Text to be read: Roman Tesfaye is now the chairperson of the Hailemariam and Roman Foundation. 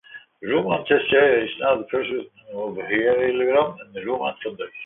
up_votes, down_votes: 1, 2